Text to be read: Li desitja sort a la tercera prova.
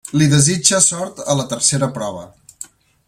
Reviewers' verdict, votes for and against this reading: rejected, 1, 2